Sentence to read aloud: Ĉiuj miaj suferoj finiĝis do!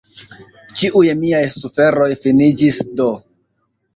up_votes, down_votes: 0, 2